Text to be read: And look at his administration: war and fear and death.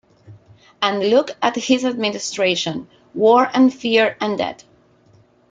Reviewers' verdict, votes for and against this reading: rejected, 1, 2